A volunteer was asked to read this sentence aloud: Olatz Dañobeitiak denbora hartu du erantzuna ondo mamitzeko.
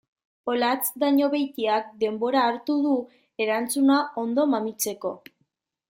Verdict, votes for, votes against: accepted, 2, 0